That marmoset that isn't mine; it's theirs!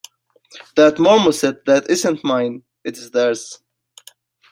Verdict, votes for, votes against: accepted, 2, 1